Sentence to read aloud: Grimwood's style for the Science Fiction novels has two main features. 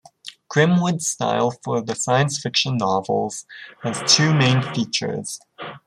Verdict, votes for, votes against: accepted, 2, 0